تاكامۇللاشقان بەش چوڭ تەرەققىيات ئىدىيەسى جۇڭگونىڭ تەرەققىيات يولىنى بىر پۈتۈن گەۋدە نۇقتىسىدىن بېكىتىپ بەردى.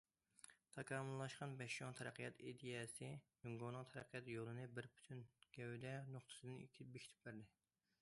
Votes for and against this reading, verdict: 2, 1, accepted